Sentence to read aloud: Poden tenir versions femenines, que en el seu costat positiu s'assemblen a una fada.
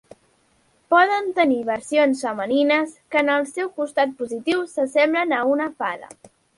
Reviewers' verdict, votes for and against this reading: accepted, 3, 0